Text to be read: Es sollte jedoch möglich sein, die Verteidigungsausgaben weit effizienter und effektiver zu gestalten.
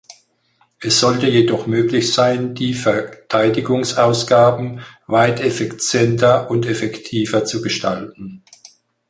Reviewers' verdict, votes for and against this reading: rejected, 2, 4